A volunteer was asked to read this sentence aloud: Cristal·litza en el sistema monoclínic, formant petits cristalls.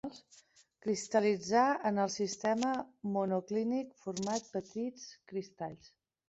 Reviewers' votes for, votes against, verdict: 1, 2, rejected